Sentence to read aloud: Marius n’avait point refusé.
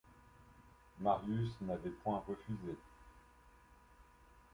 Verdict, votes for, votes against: accepted, 2, 0